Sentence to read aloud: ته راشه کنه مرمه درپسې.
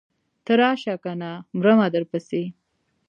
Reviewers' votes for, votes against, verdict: 2, 0, accepted